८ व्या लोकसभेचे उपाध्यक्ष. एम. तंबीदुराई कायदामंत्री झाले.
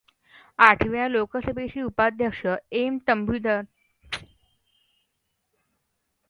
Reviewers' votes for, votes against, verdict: 0, 2, rejected